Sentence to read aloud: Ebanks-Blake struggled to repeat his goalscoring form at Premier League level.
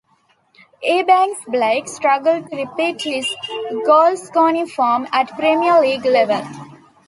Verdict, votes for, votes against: accepted, 2, 0